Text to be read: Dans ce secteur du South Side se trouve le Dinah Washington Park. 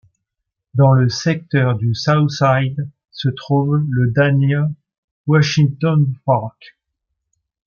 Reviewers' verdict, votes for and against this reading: rejected, 1, 2